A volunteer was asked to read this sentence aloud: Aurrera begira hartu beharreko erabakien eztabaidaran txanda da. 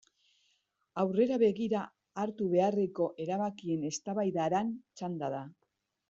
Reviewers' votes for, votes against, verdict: 2, 0, accepted